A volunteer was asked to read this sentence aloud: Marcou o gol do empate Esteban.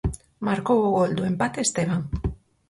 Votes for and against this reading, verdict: 4, 0, accepted